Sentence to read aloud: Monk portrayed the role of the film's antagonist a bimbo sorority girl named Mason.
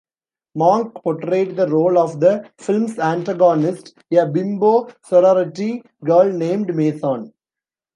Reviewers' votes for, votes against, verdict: 0, 2, rejected